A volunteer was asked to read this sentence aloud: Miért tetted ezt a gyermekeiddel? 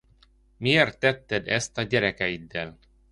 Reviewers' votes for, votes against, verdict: 0, 2, rejected